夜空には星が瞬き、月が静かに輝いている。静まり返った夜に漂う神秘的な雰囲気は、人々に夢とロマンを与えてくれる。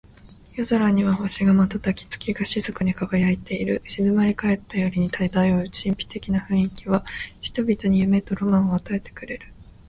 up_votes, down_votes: 2, 0